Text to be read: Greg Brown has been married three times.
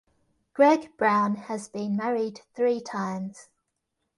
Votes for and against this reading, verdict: 2, 0, accepted